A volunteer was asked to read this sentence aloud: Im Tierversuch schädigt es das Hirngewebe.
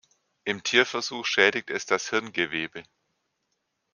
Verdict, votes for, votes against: accepted, 2, 0